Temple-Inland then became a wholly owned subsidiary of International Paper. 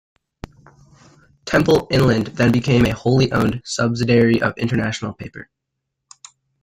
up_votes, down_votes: 2, 0